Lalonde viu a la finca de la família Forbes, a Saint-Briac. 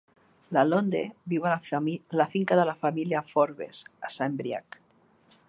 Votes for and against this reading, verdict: 0, 3, rejected